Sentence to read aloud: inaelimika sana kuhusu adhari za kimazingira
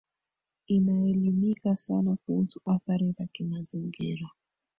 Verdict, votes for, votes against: rejected, 1, 2